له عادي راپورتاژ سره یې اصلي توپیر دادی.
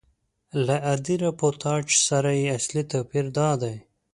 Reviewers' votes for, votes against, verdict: 2, 0, accepted